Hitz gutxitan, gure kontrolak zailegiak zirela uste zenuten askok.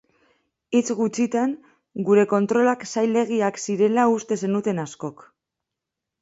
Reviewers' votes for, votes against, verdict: 2, 0, accepted